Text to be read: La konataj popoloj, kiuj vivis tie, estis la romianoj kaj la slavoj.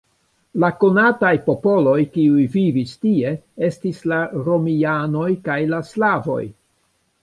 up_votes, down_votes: 2, 1